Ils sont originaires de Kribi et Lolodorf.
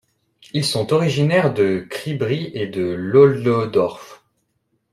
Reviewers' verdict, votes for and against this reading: rejected, 0, 2